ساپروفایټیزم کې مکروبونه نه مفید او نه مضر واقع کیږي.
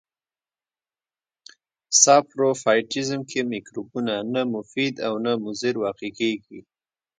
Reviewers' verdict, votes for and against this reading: accepted, 2, 0